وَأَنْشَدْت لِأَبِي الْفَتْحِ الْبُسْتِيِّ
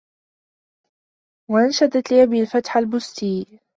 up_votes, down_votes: 1, 2